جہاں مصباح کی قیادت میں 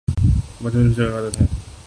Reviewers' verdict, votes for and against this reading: rejected, 0, 2